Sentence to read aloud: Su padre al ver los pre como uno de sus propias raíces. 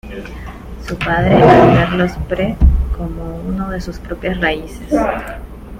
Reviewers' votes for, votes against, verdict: 1, 2, rejected